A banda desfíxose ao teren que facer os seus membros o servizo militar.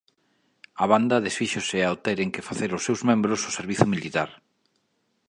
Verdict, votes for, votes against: rejected, 1, 2